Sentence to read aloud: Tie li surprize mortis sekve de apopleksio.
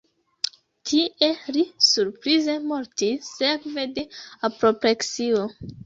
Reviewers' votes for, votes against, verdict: 1, 2, rejected